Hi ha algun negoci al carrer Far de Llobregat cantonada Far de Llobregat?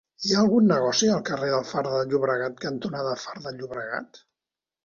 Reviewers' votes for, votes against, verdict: 1, 2, rejected